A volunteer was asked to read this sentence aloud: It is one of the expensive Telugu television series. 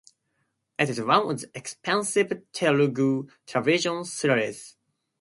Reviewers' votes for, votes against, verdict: 2, 0, accepted